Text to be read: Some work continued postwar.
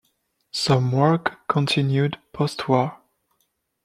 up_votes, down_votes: 2, 0